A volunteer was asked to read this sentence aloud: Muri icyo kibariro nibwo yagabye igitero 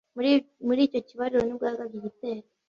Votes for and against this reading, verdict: 1, 2, rejected